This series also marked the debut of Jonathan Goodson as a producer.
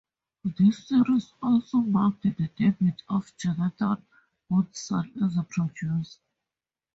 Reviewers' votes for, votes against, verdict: 2, 0, accepted